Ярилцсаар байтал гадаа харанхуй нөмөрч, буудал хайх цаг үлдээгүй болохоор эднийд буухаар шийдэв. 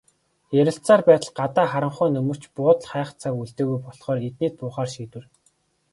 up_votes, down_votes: 2, 1